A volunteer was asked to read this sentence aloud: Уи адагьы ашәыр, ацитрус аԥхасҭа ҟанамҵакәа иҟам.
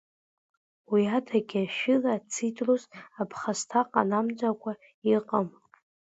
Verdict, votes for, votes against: rejected, 0, 3